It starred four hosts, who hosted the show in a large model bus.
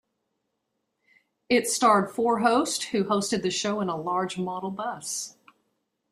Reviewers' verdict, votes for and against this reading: accepted, 2, 0